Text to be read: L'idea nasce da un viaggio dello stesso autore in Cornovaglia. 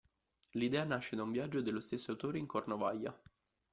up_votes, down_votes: 2, 0